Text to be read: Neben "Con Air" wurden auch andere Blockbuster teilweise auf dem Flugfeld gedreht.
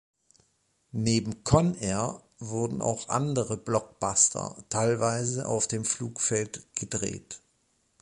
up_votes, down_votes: 2, 0